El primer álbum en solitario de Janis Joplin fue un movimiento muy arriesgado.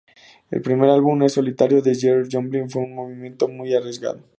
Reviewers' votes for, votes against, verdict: 2, 0, accepted